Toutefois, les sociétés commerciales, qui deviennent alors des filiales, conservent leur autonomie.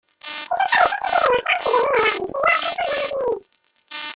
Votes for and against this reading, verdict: 0, 2, rejected